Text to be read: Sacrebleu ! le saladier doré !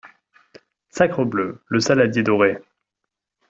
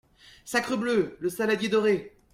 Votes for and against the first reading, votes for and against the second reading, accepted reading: 0, 2, 2, 0, second